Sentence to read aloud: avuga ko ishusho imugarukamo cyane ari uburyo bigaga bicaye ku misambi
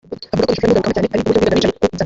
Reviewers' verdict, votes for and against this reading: rejected, 0, 2